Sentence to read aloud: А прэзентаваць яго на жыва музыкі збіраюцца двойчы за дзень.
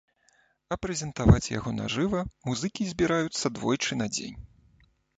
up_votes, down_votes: 1, 2